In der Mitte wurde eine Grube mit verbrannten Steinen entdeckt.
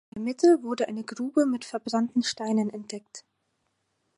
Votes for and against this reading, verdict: 0, 4, rejected